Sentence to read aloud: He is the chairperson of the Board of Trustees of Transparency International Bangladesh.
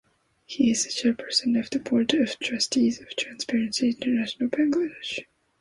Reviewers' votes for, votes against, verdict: 2, 0, accepted